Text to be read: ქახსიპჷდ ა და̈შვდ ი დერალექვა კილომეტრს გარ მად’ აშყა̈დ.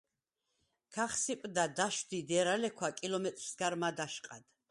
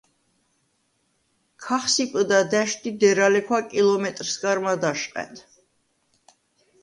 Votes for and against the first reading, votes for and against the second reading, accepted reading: 2, 4, 2, 0, second